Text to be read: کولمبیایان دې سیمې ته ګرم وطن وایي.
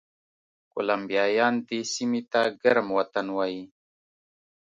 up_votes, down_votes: 2, 0